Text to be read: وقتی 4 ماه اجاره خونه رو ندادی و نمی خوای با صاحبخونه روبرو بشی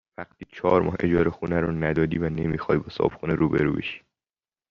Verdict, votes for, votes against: rejected, 0, 2